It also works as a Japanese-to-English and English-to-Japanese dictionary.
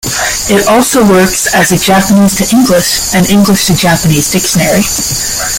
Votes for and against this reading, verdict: 0, 2, rejected